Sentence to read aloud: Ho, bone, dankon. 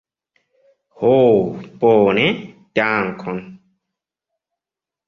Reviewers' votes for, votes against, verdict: 2, 0, accepted